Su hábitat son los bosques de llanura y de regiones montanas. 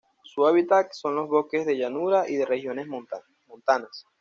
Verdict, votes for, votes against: rejected, 1, 2